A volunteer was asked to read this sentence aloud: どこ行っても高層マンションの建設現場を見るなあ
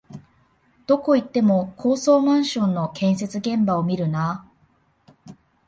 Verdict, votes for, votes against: accepted, 2, 0